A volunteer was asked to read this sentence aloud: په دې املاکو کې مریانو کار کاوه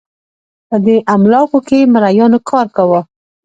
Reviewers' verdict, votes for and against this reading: accepted, 2, 0